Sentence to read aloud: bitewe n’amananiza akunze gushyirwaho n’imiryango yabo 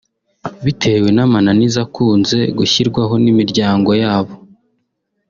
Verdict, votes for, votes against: accepted, 2, 0